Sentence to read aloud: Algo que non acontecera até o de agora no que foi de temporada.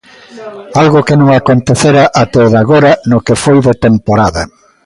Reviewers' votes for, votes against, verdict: 2, 0, accepted